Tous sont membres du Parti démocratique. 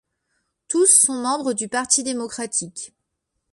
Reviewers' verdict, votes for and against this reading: accepted, 2, 1